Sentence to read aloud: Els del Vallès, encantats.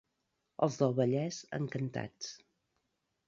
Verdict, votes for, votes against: accepted, 2, 0